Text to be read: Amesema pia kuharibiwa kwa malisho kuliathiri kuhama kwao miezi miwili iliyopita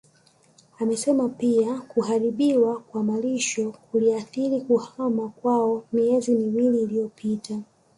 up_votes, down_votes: 0, 2